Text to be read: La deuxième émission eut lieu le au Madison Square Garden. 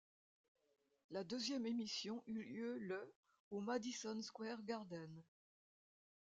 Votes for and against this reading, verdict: 2, 0, accepted